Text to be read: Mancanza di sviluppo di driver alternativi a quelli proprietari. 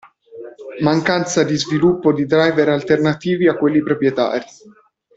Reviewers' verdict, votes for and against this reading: accepted, 2, 0